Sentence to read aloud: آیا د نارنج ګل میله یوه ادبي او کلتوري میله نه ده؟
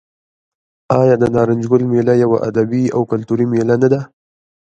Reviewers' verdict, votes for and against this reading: rejected, 0, 2